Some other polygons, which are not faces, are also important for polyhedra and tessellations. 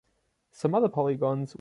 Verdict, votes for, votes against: rejected, 0, 2